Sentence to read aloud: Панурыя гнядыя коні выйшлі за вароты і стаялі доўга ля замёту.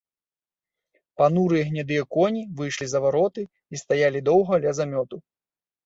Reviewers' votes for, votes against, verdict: 2, 0, accepted